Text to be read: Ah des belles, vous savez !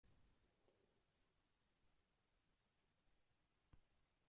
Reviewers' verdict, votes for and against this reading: rejected, 1, 2